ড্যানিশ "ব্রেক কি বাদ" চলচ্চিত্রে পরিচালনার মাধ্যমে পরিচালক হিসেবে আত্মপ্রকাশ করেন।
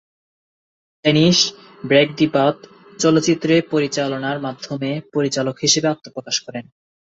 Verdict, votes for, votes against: rejected, 2, 4